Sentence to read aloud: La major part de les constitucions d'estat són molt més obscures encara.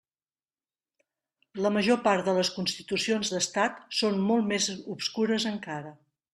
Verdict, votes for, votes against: rejected, 1, 2